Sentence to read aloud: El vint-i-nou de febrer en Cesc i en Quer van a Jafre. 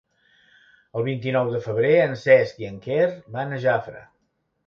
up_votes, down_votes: 3, 0